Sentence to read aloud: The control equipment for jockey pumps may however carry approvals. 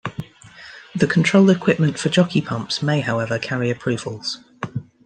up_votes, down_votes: 1, 2